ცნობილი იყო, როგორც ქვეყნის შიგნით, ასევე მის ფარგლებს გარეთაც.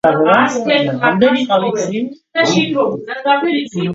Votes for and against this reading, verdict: 0, 2, rejected